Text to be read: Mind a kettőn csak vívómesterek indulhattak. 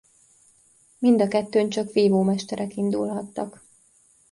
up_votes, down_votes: 2, 0